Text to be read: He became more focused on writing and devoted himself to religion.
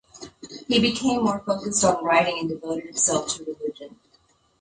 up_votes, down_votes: 2, 0